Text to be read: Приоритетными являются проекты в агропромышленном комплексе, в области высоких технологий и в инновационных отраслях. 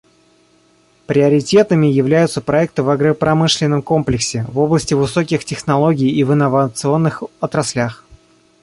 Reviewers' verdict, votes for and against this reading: accepted, 2, 0